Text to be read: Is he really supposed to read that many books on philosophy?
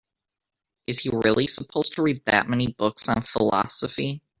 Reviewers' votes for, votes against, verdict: 2, 0, accepted